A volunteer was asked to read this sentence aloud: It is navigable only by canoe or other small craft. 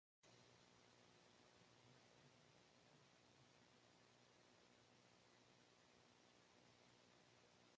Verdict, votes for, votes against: rejected, 0, 2